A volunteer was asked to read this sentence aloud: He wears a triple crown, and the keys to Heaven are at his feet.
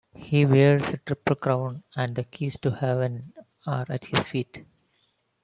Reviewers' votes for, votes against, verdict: 2, 0, accepted